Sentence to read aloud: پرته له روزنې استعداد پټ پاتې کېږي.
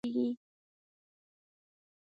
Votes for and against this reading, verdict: 0, 2, rejected